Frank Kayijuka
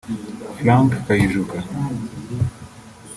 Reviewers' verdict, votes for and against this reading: rejected, 0, 2